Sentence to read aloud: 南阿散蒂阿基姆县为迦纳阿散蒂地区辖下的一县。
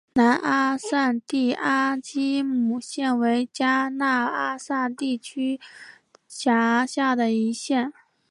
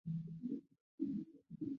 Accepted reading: first